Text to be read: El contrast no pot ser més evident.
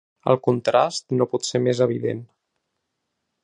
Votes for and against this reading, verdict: 3, 0, accepted